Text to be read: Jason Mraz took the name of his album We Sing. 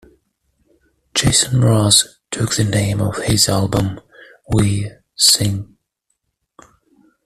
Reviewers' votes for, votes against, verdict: 1, 2, rejected